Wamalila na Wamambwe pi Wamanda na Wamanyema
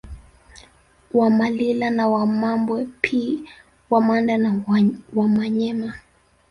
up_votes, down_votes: 1, 2